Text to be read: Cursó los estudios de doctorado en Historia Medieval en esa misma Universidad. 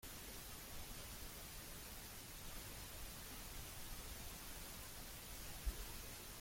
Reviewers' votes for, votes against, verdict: 0, 2, rejected